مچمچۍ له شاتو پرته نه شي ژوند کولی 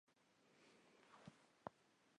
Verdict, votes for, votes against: rejected, 0, 2